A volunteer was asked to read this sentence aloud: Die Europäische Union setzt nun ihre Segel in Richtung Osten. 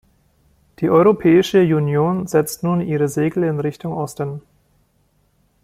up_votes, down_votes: 0, 2